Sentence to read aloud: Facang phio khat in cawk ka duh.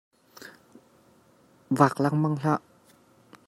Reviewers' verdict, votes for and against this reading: rejected, 0, 2